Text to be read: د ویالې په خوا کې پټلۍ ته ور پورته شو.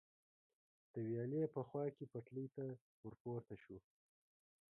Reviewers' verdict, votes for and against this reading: rejected, 0, 2